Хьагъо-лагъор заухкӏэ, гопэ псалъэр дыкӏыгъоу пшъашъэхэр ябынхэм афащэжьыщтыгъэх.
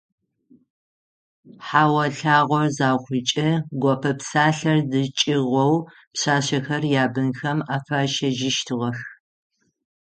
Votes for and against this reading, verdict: 3, 6, rejected